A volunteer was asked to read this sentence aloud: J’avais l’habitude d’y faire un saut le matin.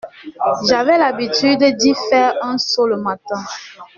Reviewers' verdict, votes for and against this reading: accepted, 2, 0